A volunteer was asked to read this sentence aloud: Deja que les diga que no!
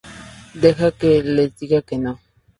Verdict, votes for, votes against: accepted, 2, 0